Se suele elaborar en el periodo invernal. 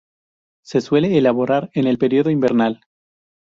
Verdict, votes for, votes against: accepted, 2, 0